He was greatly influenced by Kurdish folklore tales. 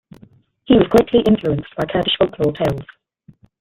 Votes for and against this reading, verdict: 2, 1, accepted